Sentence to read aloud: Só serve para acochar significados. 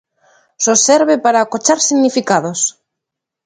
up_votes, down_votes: 2, 0